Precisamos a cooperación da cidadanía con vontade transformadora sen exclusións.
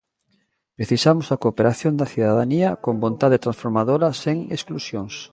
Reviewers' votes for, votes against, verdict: 2, 0, accepted